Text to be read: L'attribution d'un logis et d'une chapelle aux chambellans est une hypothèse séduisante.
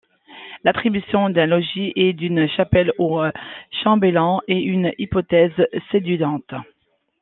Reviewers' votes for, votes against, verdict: 0, 2, rejected